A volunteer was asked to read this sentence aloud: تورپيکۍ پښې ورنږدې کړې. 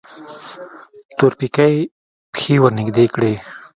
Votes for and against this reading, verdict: 0, 2, rejected